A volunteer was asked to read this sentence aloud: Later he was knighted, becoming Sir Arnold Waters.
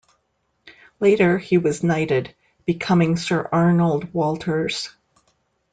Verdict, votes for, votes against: rejected, 1, 2